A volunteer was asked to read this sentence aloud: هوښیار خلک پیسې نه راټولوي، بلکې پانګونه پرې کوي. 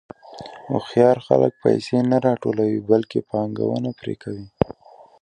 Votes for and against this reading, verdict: 2, 0, accepted